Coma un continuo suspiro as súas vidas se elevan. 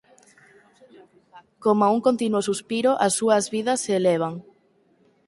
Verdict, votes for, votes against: rejected, 0, 4